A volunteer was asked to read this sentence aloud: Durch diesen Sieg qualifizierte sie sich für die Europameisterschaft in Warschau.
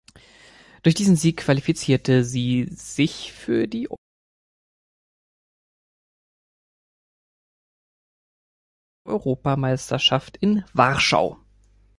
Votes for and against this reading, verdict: 0, 3, rejected